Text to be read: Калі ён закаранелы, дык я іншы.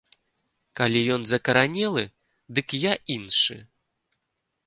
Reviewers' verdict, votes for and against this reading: accepted, 2, 0